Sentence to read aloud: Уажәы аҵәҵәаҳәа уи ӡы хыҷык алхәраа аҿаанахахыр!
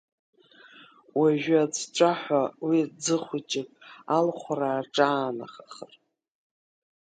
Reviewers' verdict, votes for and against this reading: rejected, 1, 2